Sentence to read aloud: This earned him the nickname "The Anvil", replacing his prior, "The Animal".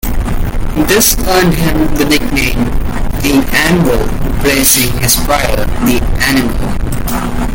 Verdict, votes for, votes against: rejected, 1, 2